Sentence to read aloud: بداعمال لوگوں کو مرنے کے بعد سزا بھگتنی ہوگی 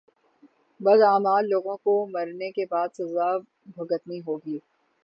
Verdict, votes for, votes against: accepted, 3, 0